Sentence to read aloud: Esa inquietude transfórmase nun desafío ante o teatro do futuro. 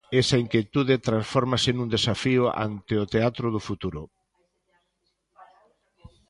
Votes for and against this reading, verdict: 2, 0, accepted